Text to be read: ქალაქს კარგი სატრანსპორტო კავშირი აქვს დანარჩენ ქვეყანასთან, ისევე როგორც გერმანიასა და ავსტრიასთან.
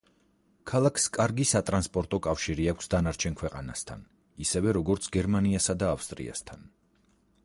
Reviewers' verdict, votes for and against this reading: rejected, 2, 4